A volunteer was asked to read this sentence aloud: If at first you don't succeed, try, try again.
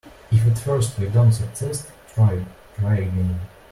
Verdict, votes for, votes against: rejected, 1, 2